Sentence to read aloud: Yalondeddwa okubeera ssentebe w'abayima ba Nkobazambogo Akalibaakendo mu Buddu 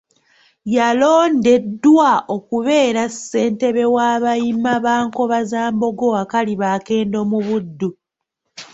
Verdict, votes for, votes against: rejected, 0, 2